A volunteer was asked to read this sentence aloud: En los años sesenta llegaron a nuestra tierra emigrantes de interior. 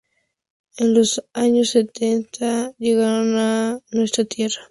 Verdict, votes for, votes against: rejected, 0, 2